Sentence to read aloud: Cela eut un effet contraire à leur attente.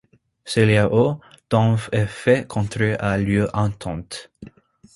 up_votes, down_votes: 1, 2